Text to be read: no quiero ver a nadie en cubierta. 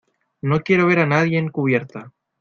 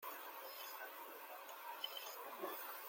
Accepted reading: first